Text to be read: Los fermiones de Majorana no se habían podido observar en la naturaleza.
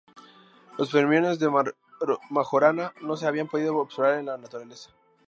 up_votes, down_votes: 2, 4